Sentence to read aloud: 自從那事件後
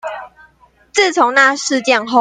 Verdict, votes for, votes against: accepted, 2, 1